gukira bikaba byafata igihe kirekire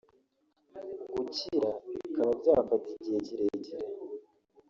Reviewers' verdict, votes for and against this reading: rejected, 1, 2